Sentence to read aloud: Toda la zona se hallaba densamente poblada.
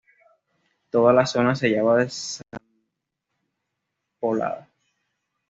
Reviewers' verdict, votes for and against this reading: rejected, 1, 2